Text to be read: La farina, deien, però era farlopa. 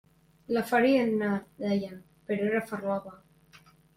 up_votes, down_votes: 2, 0